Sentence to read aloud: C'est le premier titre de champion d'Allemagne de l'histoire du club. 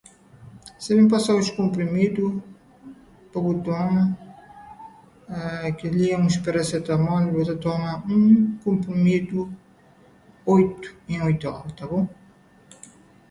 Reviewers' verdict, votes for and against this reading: rejected, 0, 2